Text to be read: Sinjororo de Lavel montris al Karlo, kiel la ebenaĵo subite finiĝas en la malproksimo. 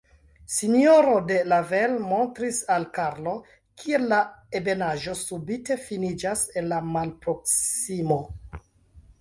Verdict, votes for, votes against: rejected, 1, 2